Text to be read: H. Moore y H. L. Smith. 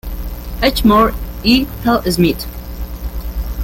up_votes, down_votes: 0, 2